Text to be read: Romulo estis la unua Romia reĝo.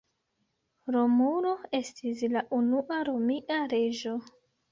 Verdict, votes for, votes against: accepted, 2, 0